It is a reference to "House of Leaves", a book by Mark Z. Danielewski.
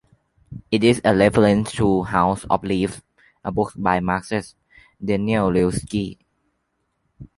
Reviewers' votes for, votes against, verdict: 0, 2, rejected